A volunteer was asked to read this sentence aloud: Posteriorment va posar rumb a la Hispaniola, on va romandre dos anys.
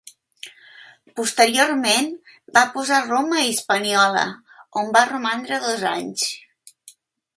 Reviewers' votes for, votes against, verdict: 1, 2, rejected